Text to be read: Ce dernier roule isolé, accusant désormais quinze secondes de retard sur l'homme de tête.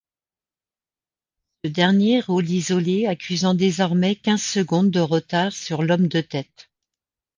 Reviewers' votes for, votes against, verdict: 1, 2, rejected